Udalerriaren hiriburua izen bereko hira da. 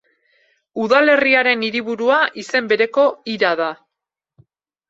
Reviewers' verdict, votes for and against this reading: accepted, 2, 0